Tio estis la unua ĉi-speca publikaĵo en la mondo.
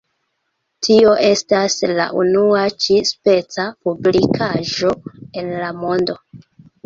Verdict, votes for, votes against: rejected, 1, 2